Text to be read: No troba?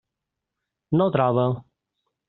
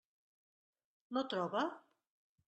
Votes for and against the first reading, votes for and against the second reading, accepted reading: 0, 2, 3, 0, second